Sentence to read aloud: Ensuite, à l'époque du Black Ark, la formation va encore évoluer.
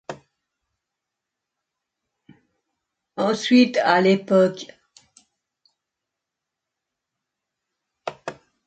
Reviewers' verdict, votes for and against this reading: rejected, 0, 2